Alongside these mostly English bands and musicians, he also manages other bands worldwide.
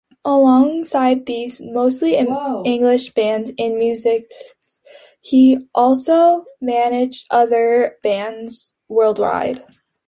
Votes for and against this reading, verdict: 0, 2, rejected